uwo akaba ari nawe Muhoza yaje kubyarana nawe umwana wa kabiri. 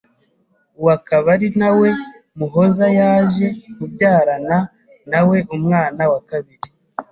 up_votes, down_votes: 2, 0